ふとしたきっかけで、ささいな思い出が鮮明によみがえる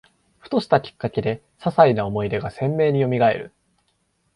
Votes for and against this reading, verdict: 2, 0, accepted